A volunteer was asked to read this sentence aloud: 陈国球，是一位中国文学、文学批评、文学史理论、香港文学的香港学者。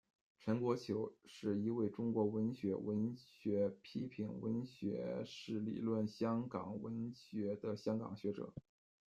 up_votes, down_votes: 1, 2